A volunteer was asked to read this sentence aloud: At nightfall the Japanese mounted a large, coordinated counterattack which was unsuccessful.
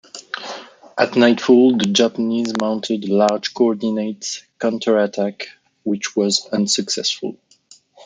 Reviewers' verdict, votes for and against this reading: rejected, 0, 2